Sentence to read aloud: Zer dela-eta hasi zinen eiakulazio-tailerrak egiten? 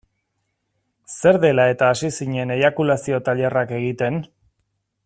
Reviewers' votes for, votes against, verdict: 2, 0, accepted